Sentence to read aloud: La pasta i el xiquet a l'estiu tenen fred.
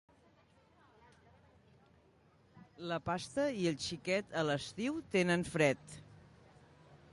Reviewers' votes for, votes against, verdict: 2, 1, accepted